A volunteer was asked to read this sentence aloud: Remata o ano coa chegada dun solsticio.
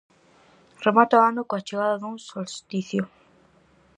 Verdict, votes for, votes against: accepted, 4, 0